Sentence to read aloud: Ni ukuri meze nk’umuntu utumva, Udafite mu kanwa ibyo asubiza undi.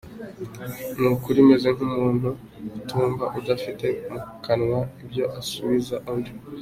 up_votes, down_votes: 2, 0